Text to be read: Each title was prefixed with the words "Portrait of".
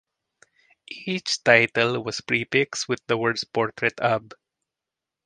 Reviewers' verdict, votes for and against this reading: accepted, 2, 0